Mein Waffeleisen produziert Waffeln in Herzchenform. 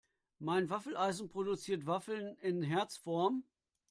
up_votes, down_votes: 0, 2